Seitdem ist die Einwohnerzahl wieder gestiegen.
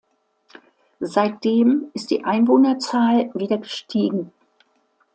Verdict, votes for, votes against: accepted, 2, 0